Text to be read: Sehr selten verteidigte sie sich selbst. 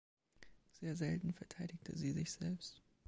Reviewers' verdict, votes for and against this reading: rejected, 1, 2